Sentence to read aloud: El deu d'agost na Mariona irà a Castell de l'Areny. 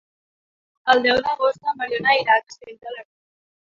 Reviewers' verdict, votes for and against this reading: rejected, 1, 2